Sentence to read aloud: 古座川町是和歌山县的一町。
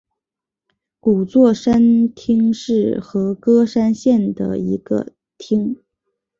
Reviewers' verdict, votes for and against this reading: accepted, 3, 2